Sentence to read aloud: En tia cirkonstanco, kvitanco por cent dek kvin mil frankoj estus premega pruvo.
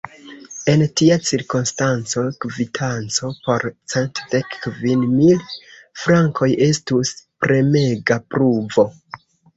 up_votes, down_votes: 2, 0